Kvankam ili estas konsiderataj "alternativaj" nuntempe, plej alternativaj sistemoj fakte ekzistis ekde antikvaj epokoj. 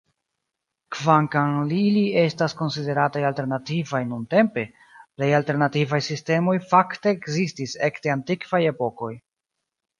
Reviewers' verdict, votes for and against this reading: accepted, 2, 1